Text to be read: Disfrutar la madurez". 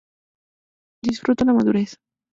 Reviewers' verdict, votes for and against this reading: rejected, 0, 2